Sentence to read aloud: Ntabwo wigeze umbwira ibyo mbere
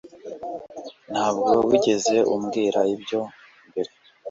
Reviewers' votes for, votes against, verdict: 2, 0, accepted